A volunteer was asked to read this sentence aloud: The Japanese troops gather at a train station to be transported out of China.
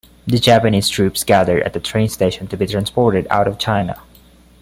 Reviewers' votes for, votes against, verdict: 2, 0, accepted